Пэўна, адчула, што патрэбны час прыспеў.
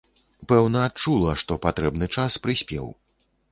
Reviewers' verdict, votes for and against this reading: accepted, 2, 0